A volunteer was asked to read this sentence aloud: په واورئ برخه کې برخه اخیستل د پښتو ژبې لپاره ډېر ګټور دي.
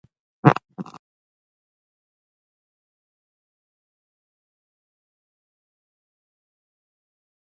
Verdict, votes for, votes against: rejected, 1, 2